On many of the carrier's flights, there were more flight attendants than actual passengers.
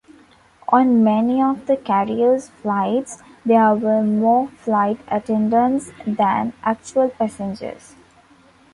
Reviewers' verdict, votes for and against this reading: accepted, 2, 0